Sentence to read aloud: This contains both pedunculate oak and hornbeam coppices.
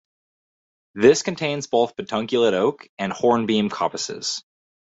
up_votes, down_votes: 2, 0